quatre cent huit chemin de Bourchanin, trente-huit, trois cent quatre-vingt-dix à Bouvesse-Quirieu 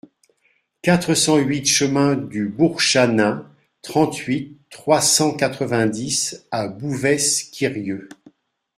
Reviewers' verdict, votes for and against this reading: rejected, 1, 2